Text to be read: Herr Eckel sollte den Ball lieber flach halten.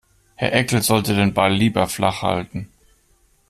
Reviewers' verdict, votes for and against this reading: accepted, 2, 0